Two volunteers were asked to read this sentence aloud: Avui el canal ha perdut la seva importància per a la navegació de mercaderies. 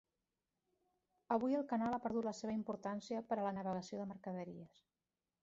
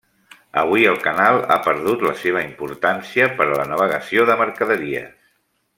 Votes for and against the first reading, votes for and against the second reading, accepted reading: 1, 2, 3, 0, second